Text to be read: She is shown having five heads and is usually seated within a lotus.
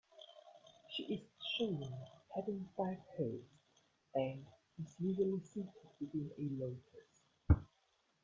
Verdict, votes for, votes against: accepted, 2, 1